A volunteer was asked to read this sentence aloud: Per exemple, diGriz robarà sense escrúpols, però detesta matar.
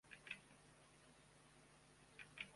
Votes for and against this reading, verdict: 0, 2, rejected